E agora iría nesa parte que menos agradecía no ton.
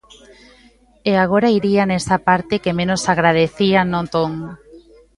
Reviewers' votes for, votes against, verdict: 2, 0, accepted